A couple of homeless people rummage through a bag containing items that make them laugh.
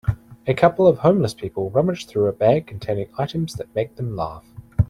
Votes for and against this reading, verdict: 2, 0, accepted